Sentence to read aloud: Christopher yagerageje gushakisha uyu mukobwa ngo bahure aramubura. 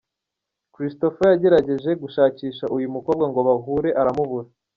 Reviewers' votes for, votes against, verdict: 3, 0, accepted